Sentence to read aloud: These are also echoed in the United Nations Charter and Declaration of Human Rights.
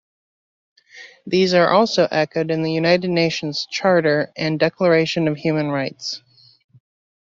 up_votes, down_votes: 2, 0